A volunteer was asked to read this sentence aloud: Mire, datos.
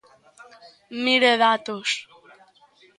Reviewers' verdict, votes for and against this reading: rejected, 1, 2